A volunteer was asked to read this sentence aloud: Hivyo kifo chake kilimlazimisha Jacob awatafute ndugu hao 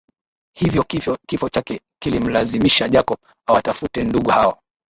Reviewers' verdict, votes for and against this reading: accepted, 2, 1